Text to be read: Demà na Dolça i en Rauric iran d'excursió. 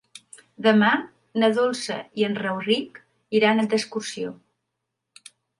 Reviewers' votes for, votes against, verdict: 1, 2, rejected